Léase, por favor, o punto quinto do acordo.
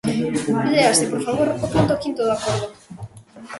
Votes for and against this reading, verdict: 0, 2, rejected